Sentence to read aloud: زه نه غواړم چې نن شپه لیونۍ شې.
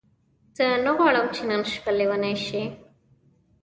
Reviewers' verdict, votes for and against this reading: rejected, 1, 2